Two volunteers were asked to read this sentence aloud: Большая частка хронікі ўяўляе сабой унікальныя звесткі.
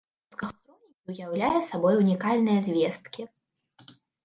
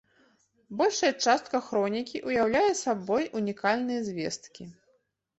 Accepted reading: second